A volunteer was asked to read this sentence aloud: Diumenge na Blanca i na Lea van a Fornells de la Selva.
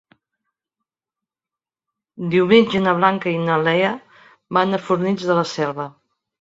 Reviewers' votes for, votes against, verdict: 2, 0, accepted